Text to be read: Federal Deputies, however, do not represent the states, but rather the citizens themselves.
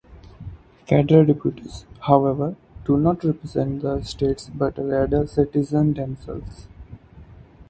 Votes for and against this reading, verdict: 2, 2, rejected